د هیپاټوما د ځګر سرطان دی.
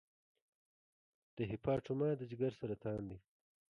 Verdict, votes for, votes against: rejected, 1, 2